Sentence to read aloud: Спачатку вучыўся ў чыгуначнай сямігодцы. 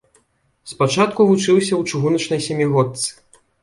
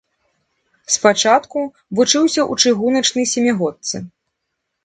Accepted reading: first